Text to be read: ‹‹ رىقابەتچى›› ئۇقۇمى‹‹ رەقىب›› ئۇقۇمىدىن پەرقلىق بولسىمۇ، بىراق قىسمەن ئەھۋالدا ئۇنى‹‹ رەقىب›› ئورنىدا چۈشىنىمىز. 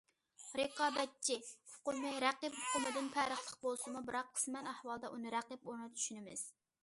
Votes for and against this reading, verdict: 1, 2, rejected